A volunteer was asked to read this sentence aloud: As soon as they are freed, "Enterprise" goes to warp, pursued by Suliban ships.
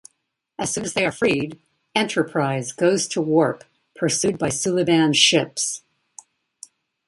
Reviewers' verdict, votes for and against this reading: rejected, 0, 2